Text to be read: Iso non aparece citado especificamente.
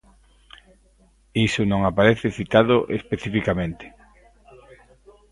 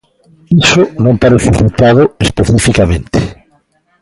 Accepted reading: second